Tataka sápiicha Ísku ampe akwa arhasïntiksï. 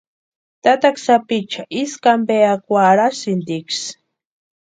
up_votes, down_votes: 2, 0